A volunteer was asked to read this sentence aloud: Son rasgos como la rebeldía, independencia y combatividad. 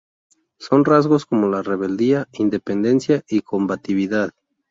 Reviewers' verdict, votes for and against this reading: rejected, 0, 2